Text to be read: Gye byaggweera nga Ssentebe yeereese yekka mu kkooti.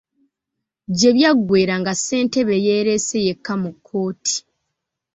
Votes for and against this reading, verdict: 2, 0, accepted